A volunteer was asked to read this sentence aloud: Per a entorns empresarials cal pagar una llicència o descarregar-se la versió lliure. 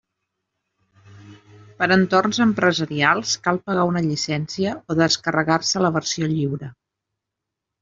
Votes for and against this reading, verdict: 2, 0, accepted